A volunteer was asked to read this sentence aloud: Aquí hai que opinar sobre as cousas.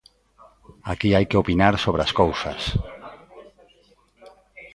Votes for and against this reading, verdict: 1, 2, rejected